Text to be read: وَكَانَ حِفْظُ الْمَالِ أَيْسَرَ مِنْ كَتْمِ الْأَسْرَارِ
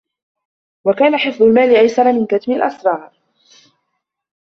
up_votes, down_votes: 1, 2